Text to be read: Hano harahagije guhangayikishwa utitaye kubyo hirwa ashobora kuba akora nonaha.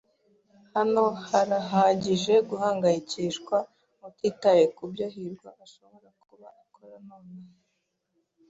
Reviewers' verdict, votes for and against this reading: rejected, 0, 2